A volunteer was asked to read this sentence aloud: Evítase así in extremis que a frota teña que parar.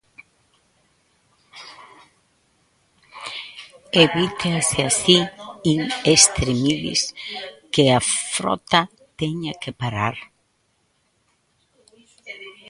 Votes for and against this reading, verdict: 1, 2, rejected